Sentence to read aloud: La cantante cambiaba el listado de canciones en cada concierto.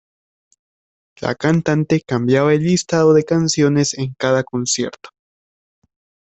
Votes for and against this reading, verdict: 2, 0, accepted